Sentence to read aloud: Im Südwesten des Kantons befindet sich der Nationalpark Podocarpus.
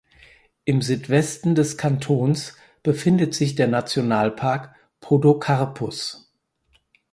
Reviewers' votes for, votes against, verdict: 4, 0, accepted